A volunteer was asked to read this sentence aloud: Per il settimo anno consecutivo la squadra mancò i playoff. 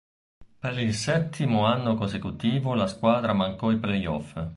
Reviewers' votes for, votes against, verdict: 2, 0, accepted